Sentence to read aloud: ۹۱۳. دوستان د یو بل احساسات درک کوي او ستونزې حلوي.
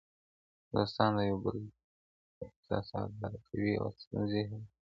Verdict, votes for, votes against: rejected, 0, 2